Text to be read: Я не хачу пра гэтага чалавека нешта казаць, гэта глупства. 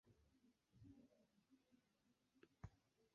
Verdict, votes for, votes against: rejected, 0, 3